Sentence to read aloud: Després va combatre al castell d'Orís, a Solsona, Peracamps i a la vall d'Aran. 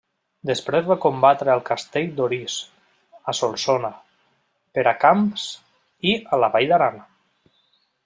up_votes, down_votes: 2, 0